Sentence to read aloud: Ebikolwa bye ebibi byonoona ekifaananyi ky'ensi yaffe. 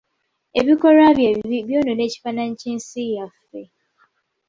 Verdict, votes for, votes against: accepted, 2, 0